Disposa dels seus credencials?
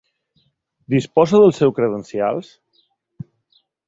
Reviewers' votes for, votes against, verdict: 2, 1, accepted